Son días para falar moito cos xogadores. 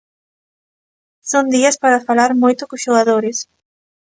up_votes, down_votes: 2, 0